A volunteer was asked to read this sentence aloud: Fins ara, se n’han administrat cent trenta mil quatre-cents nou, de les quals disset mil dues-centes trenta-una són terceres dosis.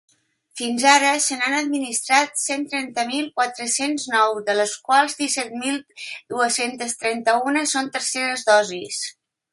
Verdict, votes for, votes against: accepted, 3, 0